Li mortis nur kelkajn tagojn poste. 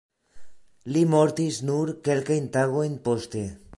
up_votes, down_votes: 2, 0